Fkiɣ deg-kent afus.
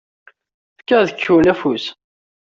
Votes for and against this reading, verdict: 1, 2, rejected